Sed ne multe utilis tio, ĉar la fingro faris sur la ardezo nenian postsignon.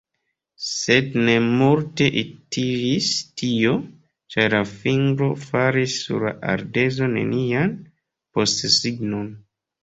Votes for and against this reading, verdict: 0, 2, rejected